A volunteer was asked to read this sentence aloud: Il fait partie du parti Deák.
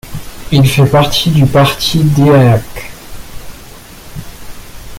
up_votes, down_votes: 2, 0